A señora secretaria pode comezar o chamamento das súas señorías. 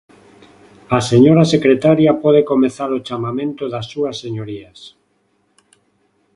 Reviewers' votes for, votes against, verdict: 2, 0, accepted